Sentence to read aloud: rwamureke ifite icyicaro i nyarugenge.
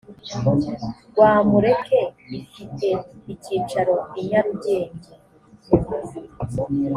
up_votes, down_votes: 4, 0